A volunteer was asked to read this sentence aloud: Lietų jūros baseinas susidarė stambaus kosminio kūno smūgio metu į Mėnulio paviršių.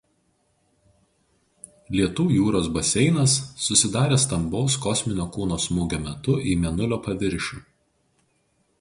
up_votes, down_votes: 2, 0